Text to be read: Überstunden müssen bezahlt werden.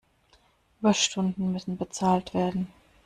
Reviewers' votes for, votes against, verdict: 1, 2, rejected